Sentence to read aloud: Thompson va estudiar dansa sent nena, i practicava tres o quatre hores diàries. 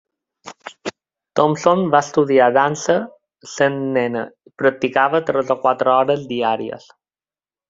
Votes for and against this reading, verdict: 3, 0, accepted